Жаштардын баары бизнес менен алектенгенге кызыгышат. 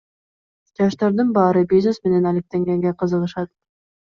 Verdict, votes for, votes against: accepted, 2, 0